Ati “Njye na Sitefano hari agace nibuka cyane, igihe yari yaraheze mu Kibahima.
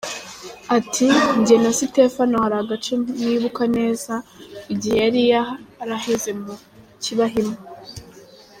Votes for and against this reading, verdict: 0, 2, rejected